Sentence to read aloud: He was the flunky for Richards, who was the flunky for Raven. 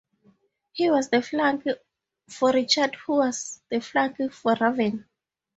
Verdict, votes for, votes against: rejected, 0, 2